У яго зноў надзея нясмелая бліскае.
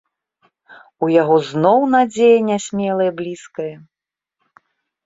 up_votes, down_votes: 2, 0